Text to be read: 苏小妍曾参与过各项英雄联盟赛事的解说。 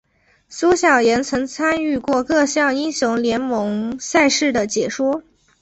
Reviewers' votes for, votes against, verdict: 3, 0, accepted